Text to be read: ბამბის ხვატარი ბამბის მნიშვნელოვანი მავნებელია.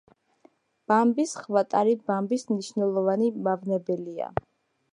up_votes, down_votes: 2, 1